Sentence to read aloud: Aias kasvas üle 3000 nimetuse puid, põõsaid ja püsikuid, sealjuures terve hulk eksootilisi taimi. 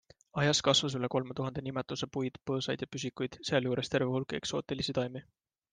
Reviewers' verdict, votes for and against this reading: rejected, 0, 2